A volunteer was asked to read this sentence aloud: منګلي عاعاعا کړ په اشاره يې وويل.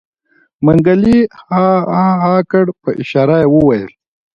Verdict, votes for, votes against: accepted, 2, 0